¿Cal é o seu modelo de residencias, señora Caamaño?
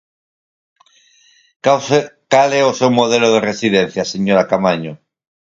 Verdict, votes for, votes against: rejected, 0, 4